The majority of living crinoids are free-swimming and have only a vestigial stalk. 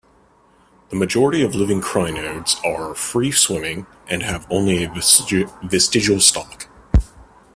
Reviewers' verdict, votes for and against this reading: rejected, 1, 2